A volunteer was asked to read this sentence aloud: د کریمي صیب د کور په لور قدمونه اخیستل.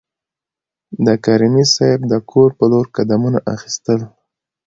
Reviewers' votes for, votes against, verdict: 2, 1, accepted